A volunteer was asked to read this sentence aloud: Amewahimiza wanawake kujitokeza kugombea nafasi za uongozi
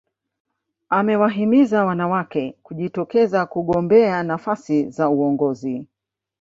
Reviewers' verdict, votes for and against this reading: rejected, 1, 2